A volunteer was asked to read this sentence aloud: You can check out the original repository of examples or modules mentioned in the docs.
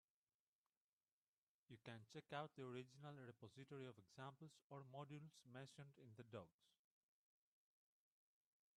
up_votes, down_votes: 0, 3